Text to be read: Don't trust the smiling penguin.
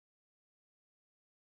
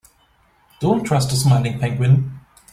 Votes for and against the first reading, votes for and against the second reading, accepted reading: 0, 2, 2, 0, second